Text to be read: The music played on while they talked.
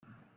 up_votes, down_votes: 0, 2